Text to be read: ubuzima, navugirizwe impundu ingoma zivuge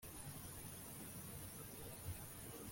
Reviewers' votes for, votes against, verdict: 0, 2, rejected